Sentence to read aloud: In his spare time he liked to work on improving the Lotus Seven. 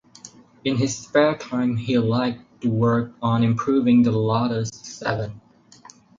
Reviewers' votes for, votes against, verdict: 2, 0, accepted